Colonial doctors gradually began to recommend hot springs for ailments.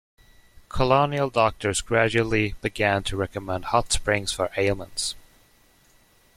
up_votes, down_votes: 2, 0